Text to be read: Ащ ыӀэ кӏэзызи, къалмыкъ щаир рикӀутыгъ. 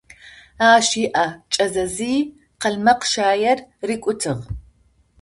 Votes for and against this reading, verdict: 0, 2, rejected